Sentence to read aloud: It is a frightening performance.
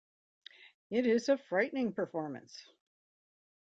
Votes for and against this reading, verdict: 2, 0, accepted